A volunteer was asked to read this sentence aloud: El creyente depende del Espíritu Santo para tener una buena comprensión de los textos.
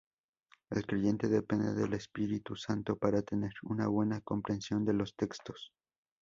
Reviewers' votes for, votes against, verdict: 0, 2, rejected